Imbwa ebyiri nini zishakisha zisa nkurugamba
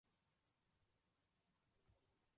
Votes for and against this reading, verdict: 1, 2, rejected